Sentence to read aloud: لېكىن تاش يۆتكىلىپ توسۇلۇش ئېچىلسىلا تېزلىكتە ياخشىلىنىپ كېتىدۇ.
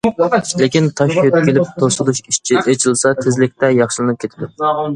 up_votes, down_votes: 0, 2